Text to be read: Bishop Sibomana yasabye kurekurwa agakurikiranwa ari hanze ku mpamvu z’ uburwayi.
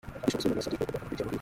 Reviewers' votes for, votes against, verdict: 0, 2, rejected